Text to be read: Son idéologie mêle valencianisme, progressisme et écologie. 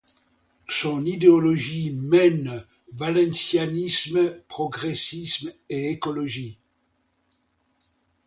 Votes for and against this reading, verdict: 1, 2, rejected